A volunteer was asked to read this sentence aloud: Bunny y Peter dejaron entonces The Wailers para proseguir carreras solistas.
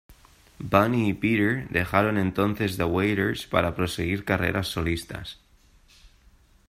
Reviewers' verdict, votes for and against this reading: accepted, 2, 0